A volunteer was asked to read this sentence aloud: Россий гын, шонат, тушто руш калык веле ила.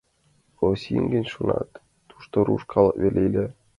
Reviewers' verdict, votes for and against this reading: accepted, 2, 0